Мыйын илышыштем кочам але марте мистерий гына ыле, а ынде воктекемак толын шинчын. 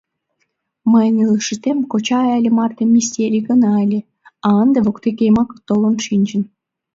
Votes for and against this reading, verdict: 1, 2, rejected